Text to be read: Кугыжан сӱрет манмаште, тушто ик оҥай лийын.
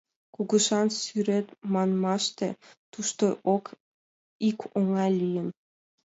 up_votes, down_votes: 2, 0